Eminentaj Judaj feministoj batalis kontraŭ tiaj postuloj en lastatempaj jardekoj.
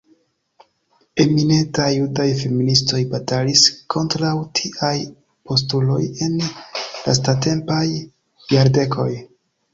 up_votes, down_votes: 2, 0